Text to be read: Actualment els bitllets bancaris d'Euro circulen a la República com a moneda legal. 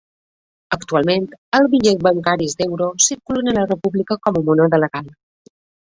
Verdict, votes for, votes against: accepted, 2, 0